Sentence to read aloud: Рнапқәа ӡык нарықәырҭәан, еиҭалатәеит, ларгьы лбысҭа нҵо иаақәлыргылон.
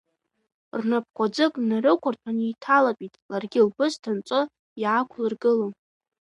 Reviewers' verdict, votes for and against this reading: accepted, 2, 0